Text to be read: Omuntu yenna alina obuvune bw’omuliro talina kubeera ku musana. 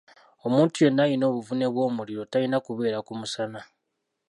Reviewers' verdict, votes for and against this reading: rejected, 1, 2